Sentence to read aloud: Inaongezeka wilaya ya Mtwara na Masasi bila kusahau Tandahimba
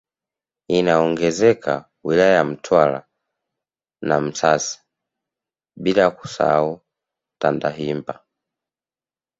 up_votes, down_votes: 1, 2